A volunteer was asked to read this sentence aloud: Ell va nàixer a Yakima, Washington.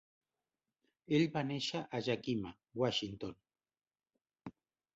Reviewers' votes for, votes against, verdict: 1, 2, rejected